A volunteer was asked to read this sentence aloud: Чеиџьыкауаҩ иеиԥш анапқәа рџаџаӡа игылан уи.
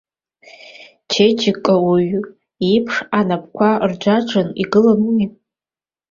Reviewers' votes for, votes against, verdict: 2, 1, accepted